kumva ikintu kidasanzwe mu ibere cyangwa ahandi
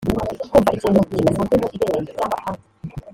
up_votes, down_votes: 0, 2